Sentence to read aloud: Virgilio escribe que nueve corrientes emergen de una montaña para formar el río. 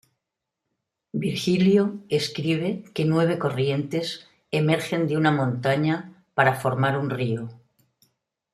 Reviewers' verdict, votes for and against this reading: rejected, 1, 2